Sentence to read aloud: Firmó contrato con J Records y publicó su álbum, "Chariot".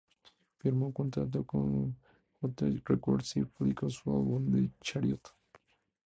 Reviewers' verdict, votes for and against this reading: rejected, 0, 2